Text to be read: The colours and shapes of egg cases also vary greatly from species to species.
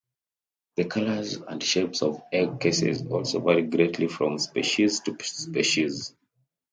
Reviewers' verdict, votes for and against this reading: accepted, 2, 0